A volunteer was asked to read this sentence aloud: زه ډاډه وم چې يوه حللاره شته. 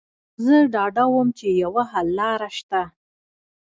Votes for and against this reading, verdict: 1, 2, rejected